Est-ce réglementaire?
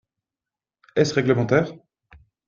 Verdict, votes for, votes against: accepted, 3, 0